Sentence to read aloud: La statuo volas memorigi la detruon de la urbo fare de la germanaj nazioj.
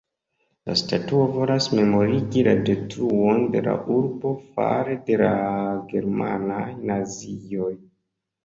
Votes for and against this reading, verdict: 2, 0, accepted